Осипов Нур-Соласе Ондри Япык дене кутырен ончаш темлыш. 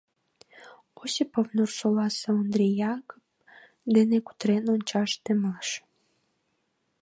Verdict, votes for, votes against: rejected, 0, 2